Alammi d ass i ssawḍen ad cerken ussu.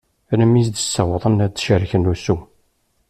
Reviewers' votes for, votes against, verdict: 2, 1, accepted